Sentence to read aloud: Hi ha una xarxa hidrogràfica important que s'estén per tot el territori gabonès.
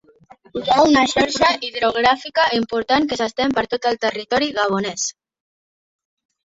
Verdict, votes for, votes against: rejected, 0, 2